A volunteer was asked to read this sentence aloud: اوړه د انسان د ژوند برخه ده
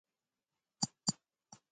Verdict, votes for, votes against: rejected, 0, 2